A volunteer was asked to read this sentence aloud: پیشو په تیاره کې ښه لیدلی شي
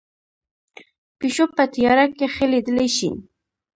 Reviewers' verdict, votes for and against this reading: accepted, 2, 0